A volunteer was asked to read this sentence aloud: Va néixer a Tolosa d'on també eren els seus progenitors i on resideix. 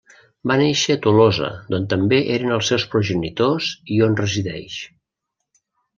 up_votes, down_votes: 2, 0